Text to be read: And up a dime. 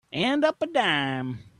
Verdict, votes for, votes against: accepted, 2, 0